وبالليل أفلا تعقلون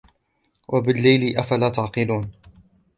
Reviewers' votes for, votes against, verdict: 2, 1, accepted